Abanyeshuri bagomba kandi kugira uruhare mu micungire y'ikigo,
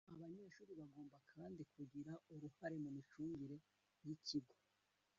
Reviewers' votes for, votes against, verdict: 1, 2, rejected